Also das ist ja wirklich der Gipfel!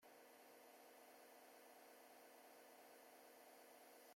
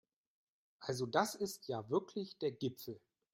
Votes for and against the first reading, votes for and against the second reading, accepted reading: 0, 2, 2, 0, second